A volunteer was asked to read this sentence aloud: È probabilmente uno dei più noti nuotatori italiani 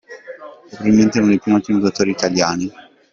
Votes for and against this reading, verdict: 1, 2, rejected